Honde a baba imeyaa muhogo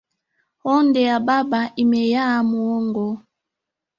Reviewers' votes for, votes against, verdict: 3, 2, accepted